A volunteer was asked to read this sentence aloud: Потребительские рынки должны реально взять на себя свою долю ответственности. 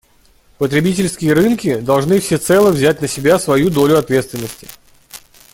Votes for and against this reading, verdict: 0, 2, rejected